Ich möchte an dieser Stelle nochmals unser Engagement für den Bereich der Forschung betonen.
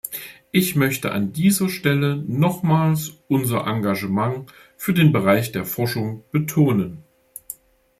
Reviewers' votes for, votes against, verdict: 1, 2, rejected